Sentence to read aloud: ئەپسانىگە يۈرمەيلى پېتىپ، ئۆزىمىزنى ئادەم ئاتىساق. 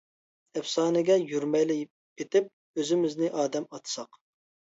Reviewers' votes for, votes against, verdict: 0, 2, rejected